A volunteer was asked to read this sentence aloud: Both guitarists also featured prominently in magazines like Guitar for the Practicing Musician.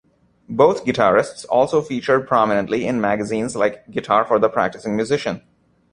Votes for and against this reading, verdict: 2, 0, accepted